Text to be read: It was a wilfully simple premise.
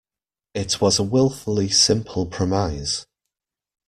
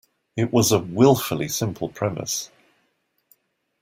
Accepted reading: second